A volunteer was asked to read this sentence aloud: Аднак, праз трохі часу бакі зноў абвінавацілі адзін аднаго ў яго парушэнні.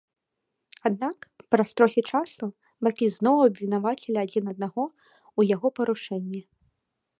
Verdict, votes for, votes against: rejected, 1, 2